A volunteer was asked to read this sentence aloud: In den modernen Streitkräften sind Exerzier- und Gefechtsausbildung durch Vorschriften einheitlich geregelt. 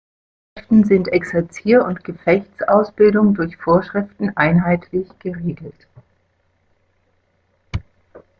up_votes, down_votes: 1, 2